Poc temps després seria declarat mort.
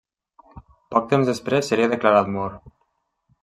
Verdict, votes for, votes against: accepted, 3, 0